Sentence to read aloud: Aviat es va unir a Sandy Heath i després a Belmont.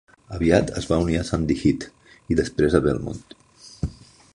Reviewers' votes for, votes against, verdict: 2, 0, accepted